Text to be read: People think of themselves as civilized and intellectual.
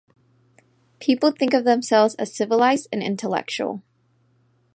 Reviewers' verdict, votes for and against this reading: accepted, 2, 0